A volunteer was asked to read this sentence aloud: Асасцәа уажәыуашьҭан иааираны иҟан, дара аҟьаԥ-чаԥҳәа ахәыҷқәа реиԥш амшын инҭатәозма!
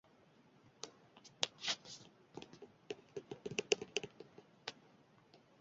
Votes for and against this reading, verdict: 0, 2, rejected